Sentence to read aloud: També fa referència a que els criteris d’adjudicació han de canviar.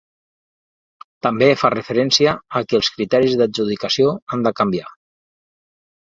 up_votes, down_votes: 2, 0